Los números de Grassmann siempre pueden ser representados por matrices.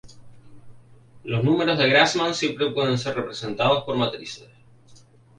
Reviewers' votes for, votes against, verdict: 4, 0, accepted